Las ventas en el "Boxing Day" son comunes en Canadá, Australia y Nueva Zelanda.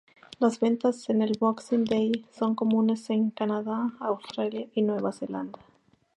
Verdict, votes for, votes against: accepted, 4, 0